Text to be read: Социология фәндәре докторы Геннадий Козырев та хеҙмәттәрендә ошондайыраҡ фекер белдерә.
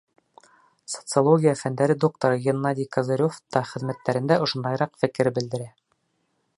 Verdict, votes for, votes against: accepted, 2, 0